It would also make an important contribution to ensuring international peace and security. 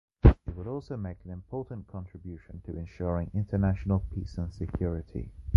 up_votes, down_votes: 0, 2